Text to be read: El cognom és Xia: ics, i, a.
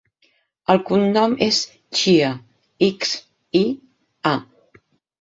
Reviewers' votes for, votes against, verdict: 9, 0, accepted